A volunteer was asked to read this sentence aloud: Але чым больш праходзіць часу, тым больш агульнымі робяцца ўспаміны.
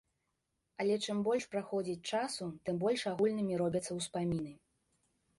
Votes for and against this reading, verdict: 0, 2, rejected